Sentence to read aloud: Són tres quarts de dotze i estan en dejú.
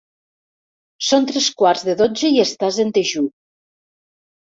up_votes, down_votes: 0, 2